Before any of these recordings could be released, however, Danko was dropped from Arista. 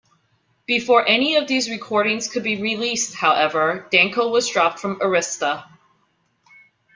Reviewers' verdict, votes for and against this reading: accepted, 2, 0